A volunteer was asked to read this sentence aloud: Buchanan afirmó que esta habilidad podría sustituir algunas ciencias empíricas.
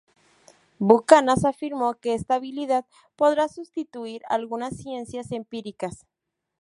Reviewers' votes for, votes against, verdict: 0, 2, rejected